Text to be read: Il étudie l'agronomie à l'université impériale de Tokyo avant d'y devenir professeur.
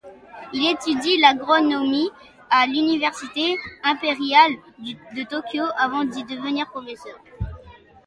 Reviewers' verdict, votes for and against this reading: accepted, 2, 0